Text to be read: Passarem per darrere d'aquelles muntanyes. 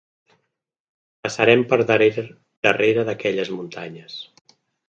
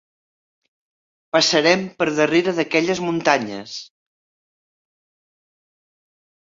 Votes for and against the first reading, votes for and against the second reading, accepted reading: 1, 2, 3, 0, second